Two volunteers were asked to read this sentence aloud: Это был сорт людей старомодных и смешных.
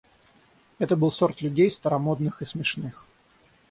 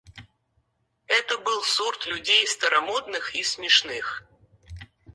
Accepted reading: first